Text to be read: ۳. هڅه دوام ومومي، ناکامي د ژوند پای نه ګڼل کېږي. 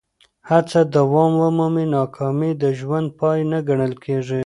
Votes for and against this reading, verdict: 0, 2, rejected